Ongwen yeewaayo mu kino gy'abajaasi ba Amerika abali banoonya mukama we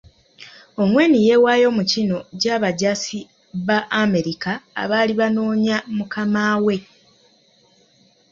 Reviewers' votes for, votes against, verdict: 0, 2, rejected